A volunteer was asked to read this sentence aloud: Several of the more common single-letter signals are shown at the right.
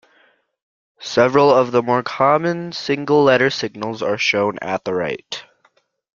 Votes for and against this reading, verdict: 2, 0, accepted